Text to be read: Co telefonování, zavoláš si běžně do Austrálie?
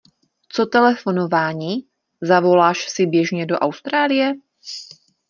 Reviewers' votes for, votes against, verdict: 2, 0, accepted